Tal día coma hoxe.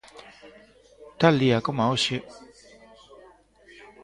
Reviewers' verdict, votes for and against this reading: rejected, 1, 2